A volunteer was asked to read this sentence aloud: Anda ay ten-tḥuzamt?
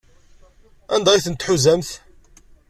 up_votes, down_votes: 2, 0